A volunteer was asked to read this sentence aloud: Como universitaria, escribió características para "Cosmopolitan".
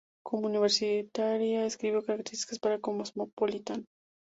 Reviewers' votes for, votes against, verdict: 4, 4, rejected